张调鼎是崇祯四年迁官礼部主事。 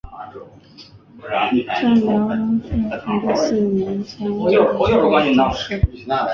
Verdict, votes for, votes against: rejected, 0, 5